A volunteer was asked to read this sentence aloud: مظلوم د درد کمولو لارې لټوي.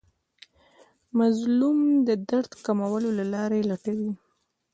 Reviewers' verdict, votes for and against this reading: rejected, 0, 2